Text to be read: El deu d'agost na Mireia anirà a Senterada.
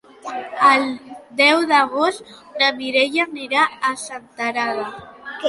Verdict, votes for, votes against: accepted, 2, 1